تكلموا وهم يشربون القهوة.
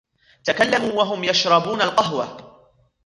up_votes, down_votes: 2, 0